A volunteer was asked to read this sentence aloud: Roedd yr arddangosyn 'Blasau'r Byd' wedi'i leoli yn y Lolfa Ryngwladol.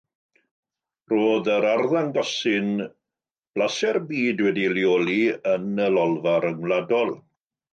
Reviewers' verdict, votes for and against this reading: accepted, 2, 0